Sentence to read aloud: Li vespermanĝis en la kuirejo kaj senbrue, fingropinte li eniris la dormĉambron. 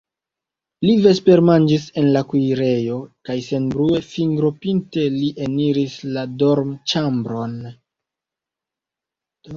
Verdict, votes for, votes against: accepted, 2, 0